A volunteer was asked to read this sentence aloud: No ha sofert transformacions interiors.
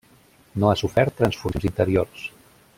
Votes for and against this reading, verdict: 0, 2, rejected